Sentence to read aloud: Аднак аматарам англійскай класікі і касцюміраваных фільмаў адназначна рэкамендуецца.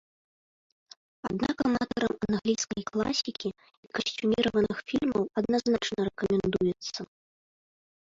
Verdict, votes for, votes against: rejected, 0, 2